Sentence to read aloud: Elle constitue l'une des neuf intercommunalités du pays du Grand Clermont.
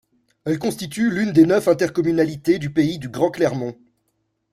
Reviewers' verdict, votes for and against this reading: accepted, 2, 0